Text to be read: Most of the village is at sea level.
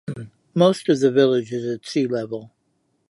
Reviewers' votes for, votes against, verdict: 2, 0, accepted